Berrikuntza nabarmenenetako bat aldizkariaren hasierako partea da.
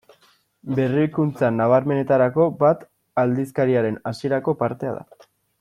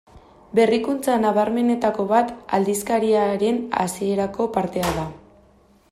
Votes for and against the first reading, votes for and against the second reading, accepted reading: 0, 2, 2, 0, second